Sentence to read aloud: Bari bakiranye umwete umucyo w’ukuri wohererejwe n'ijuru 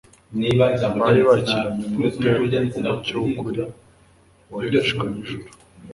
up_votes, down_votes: 0, 2